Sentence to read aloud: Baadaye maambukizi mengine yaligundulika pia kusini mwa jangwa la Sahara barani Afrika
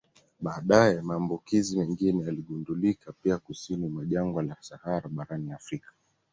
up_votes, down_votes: 2, 0